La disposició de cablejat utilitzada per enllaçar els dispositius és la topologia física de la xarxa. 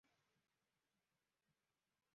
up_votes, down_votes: 0, 3